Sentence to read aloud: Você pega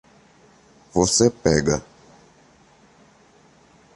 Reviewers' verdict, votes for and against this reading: accepted, 2, 0